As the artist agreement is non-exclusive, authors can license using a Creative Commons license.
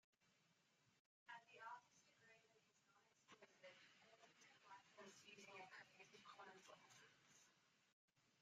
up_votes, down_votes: 1, 2